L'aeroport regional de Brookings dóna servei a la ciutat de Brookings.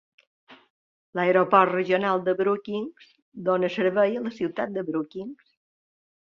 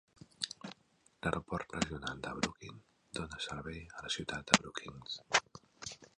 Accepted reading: first